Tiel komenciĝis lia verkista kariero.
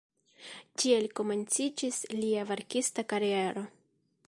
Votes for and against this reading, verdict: 0, 2, rejected